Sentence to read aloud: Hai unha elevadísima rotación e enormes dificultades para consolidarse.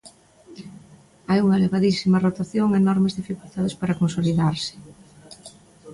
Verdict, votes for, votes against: accepted, 2, 0